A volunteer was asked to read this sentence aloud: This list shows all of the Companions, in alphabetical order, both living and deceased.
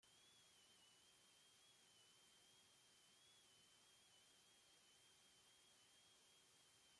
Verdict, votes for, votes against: rejected, 0, 2